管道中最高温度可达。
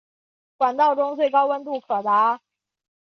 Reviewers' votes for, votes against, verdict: 0, 2, rejected